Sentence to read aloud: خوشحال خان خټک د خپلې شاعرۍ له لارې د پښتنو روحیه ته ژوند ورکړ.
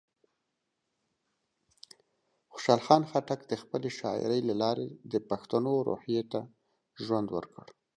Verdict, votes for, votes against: accepted, 2, 0